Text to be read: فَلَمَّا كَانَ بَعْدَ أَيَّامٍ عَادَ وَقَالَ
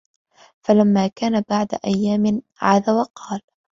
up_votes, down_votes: 2, 0